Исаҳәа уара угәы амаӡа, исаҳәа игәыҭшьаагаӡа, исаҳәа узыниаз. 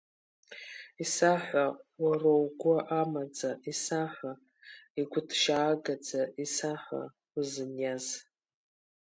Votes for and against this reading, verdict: 2, 1, accepted